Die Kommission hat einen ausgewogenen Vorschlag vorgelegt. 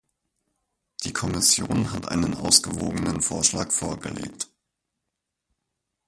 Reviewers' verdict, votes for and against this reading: rejected, 2, 4